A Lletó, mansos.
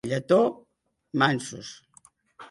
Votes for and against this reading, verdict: 1, 2, rejected